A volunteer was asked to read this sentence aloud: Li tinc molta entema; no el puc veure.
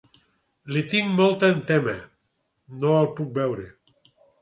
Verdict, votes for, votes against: accepted, 4, 0